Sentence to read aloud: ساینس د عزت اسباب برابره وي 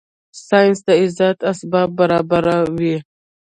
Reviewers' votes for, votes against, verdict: 2, 0, accepted